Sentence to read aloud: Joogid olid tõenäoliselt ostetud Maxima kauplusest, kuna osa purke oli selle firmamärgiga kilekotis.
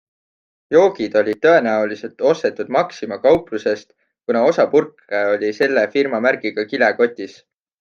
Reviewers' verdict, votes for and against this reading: accepted, 2, 0